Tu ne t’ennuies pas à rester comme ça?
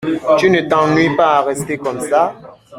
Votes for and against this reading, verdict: 1, 2, rejected